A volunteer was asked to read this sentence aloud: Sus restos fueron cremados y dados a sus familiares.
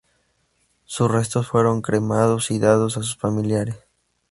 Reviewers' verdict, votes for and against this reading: rejected, 2, 2